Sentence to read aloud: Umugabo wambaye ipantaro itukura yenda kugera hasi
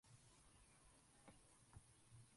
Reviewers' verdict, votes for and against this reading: rejected, 0, 2